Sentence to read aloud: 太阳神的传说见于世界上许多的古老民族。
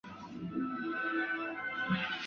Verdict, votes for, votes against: rejected, 2, 3